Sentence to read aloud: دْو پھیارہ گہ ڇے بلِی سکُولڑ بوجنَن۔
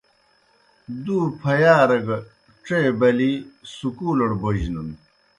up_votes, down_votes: 2, 0